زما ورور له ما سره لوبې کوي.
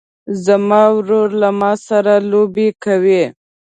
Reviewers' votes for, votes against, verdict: 2, 0, accepted